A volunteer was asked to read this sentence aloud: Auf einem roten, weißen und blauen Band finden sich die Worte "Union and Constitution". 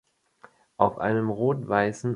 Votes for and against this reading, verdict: 0, 2, rejected